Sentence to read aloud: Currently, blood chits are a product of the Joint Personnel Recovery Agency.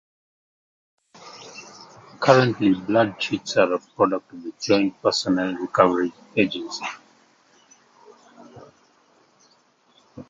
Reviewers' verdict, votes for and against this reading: rejected, 0, 2